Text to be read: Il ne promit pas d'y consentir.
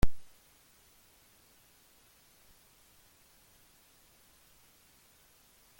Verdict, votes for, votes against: rejected, 0, 2